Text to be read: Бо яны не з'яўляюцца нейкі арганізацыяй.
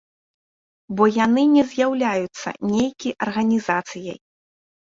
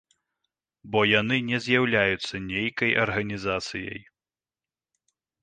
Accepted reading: first